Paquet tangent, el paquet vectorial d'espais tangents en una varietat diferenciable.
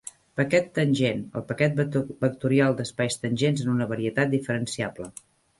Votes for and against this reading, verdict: 0, 2, rejected